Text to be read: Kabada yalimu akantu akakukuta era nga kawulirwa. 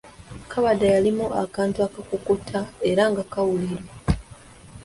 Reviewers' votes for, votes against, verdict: 0, 2, rejected